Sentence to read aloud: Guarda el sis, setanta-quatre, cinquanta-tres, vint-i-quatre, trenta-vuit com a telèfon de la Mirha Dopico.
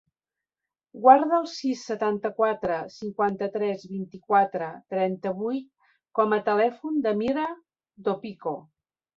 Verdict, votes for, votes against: rejected, 1, 2